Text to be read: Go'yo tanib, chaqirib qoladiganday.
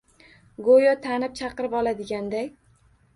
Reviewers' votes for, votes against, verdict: 1, 2, rejected